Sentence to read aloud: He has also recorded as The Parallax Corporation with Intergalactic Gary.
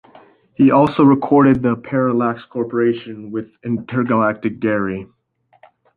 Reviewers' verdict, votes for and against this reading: accepted, 2, 0